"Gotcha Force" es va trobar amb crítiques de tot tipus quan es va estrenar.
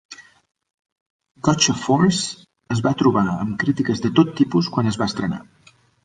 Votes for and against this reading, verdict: 2, 1, accepted